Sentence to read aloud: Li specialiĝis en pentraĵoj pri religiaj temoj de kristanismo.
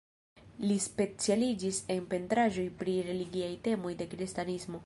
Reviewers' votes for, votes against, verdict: 2, 1, accepted